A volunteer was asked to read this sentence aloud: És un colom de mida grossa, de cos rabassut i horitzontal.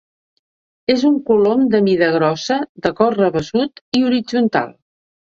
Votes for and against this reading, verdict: 2, 0, accepted